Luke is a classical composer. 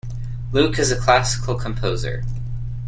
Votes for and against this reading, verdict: 2, 0, accepted